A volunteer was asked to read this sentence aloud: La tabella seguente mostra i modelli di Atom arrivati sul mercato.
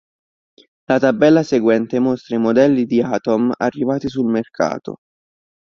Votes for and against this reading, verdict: 2, 0, accepted